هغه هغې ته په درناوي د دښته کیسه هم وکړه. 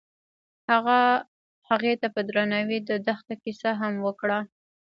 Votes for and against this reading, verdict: 0, 2, rejected